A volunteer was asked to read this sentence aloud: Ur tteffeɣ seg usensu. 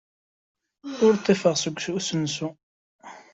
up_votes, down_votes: 0, 2